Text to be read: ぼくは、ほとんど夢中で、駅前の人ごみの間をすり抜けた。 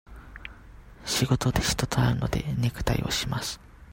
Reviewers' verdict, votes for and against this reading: rejected, 0, 2